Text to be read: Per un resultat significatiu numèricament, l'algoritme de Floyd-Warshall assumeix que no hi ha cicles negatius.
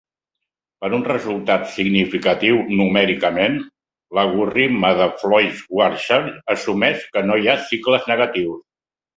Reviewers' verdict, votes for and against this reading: rejected, 1, 2